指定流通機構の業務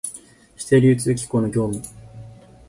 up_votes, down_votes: 6, 2